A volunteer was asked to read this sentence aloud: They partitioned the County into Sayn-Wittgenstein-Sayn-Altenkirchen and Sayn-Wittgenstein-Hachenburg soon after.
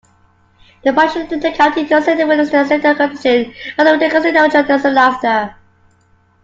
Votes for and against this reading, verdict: 0, 3, rejected